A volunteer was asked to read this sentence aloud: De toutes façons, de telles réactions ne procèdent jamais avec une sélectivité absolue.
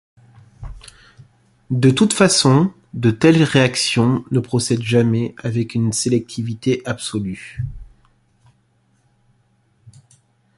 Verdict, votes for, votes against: accepted, 2, 0